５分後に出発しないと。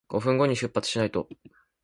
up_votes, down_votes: 0, 2